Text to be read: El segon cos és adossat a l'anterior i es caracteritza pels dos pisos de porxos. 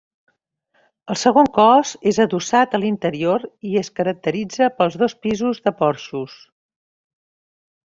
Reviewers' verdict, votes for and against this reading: rejected, 0, 2